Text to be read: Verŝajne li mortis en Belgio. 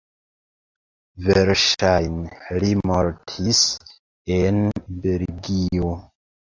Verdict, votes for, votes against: accepted, 2, 0